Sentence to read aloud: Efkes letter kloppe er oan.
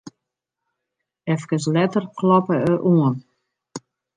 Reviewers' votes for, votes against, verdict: 3, 0, accepted